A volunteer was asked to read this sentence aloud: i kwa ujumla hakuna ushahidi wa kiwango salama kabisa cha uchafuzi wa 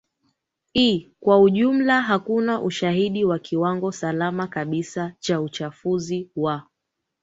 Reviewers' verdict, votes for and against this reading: accepted, 2, 0